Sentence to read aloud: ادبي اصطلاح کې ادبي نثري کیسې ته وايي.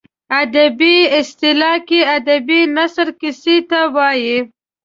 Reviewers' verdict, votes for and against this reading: rejected, 1, 2